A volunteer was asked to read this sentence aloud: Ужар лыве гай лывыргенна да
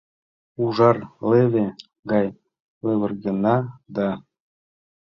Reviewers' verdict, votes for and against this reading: rejected, 0, 2